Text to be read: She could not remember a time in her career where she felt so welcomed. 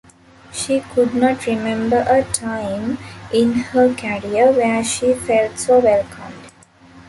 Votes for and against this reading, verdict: 2, 0, accepted